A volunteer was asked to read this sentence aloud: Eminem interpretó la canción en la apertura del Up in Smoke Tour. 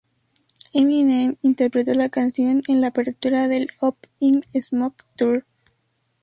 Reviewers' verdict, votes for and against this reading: rejected, 0, 2